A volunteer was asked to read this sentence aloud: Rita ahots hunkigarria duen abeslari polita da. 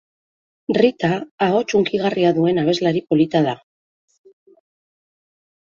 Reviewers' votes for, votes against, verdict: 3, 0, accepted